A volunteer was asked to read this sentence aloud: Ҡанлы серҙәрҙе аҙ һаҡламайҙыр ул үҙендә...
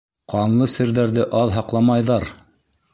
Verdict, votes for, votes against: rejected, 1, 2